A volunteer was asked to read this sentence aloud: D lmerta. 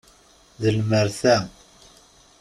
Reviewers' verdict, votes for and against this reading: accepted, 2, 0